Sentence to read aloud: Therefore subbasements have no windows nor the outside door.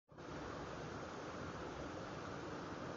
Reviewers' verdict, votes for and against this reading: rejected, 0, 2